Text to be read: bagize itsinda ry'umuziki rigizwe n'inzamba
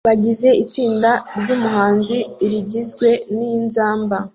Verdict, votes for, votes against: rejected, 0, 2